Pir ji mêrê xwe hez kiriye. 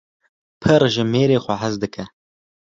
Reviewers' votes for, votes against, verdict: 0, 2, rejected